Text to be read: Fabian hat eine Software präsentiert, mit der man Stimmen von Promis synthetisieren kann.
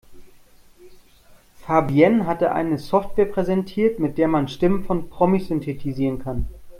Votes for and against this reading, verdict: 0, 2, rejected